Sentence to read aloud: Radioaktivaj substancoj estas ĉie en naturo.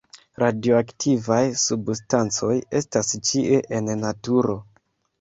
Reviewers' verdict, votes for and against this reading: accepted, 2, 0